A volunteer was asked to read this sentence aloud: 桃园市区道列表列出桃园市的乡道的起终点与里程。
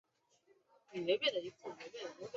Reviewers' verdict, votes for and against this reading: rejected, 0, 4